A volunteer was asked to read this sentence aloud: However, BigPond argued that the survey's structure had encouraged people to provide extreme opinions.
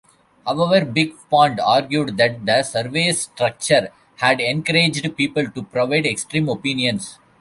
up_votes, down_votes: 1, 2